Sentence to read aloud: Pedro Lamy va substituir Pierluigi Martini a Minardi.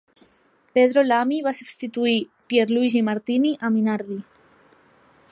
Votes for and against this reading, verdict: 4, 0, accepted